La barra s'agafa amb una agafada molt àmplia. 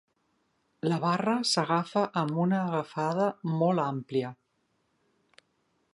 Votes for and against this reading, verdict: 2, 0, accepted